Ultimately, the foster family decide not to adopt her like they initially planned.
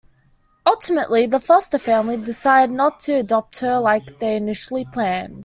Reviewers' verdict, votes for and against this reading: accepted, 2, 1